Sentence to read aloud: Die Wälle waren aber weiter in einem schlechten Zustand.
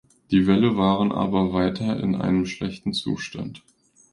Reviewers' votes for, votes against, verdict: 2, 0, accepted